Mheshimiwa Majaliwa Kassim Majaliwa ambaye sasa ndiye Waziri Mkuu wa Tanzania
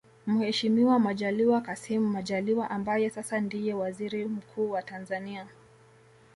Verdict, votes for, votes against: accepted, 2, 0